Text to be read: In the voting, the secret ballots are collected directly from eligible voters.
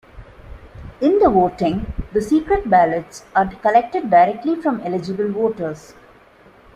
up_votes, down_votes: 2, 1